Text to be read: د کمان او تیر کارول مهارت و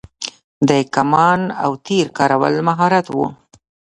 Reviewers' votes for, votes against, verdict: 1, 2, rejected